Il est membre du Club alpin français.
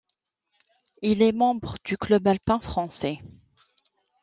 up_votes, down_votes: 2, 0